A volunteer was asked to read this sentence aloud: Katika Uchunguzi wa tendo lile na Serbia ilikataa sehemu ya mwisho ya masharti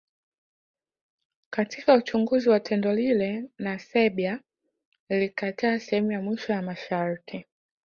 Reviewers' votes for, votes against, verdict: 2, 0, accepted